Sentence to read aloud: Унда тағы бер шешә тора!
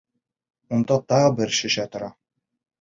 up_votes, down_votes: 2, 0